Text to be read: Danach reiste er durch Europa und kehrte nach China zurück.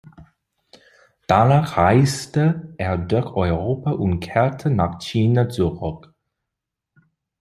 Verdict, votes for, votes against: accepted, 2, 1